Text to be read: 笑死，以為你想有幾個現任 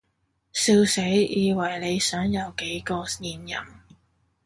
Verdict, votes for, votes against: accepted, 2, 0